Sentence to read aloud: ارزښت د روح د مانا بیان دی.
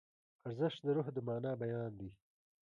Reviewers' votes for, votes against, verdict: 1, 2, rejected